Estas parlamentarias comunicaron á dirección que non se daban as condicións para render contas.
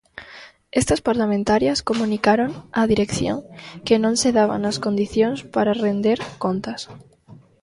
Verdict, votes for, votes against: accepted, 2, 0